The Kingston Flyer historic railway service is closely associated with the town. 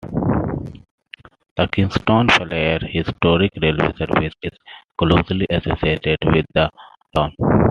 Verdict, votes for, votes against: rejected, 0, 2